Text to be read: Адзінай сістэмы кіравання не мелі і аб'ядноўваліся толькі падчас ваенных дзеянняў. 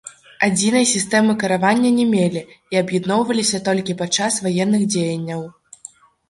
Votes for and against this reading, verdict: 1, 2, rejected